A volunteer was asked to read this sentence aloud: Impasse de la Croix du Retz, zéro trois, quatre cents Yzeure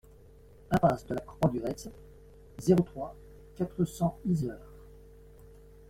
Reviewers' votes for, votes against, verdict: 1, 2, rejected